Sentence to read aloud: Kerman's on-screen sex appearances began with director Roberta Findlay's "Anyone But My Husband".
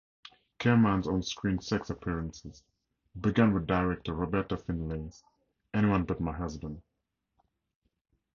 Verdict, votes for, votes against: accepted, 2, 0